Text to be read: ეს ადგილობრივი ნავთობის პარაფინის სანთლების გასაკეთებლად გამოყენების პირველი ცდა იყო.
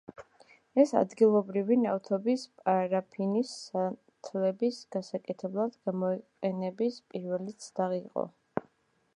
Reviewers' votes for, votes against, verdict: 1, 2, rejected